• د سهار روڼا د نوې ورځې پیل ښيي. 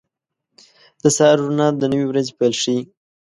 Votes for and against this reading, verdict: 2, 1, accepted